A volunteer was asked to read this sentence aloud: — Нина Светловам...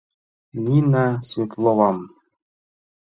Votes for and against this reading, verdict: 2, 0, accepted